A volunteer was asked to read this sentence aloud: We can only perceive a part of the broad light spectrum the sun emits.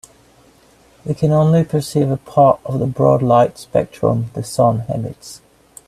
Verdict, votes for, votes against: accepted, 2, 0